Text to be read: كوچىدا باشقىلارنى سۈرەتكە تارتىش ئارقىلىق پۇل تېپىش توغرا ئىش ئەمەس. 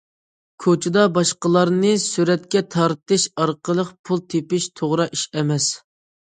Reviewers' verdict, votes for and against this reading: accepted, 2, 0